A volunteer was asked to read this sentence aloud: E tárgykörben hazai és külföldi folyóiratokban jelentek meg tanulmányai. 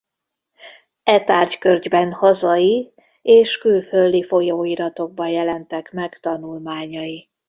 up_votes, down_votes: 1, 2